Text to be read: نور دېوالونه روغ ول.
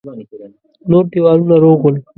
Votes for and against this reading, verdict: 2, 0, accepted